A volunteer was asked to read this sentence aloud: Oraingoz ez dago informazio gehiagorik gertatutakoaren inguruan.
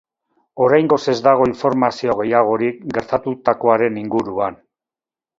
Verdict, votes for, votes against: accepted, 2, 0